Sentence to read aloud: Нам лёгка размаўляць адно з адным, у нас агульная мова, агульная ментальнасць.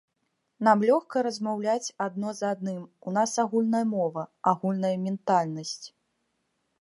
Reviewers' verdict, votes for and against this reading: accepted, 2, 0